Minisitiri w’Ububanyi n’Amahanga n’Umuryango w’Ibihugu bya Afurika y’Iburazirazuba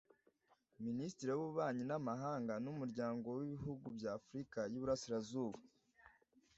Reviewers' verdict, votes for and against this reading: rejected, 1, 2